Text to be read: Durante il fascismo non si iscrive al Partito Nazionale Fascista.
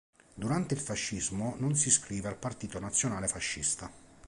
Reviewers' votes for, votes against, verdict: 3, 0, accepted